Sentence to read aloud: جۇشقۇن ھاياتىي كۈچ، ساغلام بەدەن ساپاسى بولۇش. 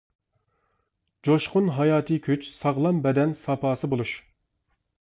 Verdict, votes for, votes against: accepted, 2, 0